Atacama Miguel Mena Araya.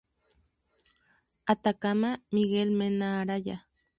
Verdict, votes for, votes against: accepted, 2, 0